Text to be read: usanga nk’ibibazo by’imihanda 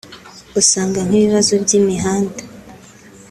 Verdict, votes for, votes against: accepted, 2, 0